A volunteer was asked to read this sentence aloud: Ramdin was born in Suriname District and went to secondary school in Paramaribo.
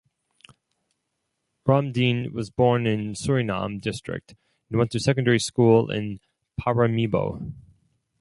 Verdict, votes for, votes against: rejected, 0, 4